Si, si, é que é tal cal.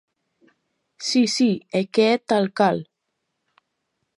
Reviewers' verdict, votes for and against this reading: accepted, 2, 0